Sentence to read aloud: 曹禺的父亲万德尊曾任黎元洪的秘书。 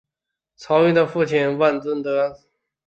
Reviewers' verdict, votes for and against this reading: rejected, 0, 2